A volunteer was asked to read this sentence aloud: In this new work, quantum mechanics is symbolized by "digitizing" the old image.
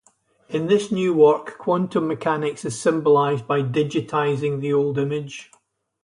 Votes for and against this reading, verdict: 4, 0, accepted